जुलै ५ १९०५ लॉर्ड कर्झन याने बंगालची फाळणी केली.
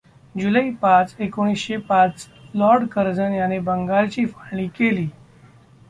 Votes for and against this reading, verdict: 0, 2, rejected